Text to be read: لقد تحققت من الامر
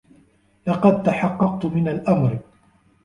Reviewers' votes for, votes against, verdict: 2, 0, accepted